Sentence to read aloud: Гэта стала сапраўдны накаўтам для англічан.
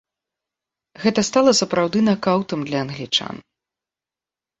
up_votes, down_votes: 0, 2